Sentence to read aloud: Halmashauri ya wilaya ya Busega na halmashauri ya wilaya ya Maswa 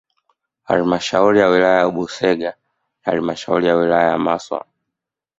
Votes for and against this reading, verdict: 2, 0, accepted